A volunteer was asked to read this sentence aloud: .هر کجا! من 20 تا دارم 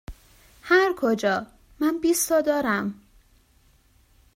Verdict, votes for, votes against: rejected, 0, 2